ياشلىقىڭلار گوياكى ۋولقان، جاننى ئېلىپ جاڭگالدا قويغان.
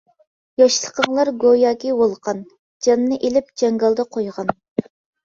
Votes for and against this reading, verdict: 2, 0, accepted